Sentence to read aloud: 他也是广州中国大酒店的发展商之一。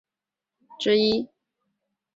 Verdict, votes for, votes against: rejected, 0, 5